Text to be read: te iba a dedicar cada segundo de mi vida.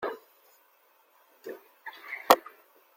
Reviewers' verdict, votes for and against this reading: rejected, 0, 2